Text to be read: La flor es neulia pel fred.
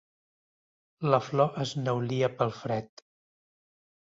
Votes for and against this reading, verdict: 3, 0, accepted